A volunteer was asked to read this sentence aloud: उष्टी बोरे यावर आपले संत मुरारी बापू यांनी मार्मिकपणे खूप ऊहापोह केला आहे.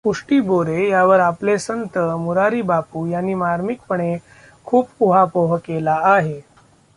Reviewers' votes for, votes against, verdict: 2, 0, accepted